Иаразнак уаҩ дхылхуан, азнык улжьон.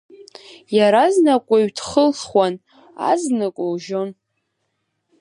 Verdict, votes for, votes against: accepted, 2, 0